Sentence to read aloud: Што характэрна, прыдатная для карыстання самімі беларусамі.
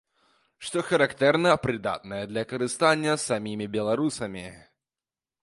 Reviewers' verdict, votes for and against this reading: accepted, 2, 0